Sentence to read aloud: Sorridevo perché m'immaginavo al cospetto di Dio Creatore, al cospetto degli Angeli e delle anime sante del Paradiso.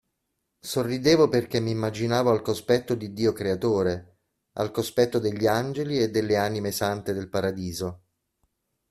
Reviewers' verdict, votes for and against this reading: accepted, 2, 0